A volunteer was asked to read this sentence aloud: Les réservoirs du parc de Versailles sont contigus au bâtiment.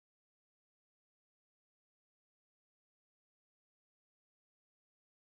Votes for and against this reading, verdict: 0, 2, rejected